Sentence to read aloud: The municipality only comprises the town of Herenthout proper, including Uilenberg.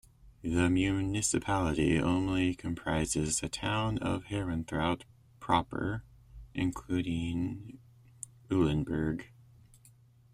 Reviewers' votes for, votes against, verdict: 2, 0, accepted